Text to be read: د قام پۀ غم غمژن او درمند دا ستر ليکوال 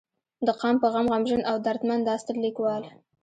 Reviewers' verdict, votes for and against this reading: rejected, 1, 2